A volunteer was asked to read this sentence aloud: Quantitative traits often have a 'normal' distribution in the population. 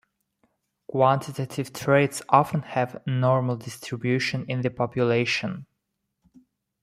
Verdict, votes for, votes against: accepted, 2, 0